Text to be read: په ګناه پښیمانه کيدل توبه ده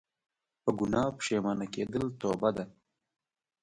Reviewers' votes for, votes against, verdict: 0, 2, rejected